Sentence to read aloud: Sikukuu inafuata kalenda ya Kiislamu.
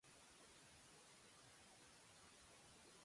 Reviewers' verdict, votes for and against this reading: rejected, 0, 2